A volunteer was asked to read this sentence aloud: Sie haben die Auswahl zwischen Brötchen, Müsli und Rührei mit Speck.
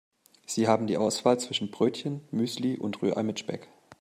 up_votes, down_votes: 2, 0